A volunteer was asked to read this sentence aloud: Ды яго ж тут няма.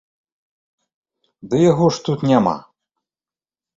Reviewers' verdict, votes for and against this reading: accepted, 2, 0